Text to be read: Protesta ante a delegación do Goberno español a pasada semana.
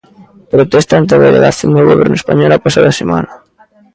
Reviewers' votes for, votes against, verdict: 1, 2, rejected